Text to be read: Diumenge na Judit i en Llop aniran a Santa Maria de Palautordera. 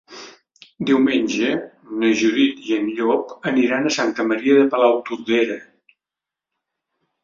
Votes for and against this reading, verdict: 3, 0, accepted